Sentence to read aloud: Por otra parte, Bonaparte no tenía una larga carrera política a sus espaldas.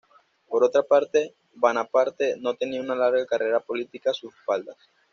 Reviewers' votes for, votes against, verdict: 1, 2, rejected